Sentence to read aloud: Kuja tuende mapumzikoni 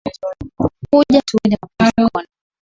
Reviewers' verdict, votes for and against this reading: rejected, 3, 12